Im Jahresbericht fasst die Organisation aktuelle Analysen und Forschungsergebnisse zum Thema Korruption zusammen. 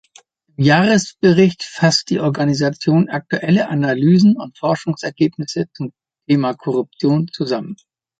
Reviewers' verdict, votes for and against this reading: rejected, 0, 2